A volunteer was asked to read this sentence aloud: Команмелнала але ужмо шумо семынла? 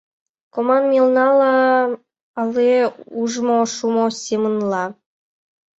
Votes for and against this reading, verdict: 2, 1, accepted